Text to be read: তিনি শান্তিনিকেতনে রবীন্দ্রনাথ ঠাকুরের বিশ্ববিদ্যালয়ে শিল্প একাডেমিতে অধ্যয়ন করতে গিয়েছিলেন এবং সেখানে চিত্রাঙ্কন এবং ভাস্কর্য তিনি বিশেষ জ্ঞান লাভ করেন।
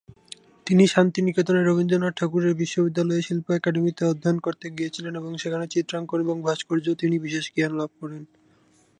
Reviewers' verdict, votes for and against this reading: accepted, 4, 2